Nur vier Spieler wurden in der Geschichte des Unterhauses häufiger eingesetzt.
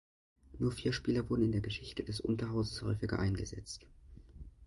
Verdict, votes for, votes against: accepted, 2, 0